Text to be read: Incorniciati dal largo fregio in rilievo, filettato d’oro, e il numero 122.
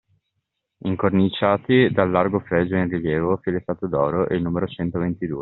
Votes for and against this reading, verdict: 0, 2, rejected